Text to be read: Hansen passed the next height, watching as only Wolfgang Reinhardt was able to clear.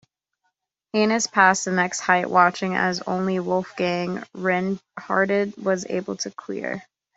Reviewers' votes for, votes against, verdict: 0, 2, rejected